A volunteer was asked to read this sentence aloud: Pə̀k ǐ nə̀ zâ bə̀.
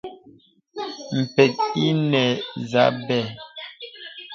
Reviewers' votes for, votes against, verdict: 1, 2, rejected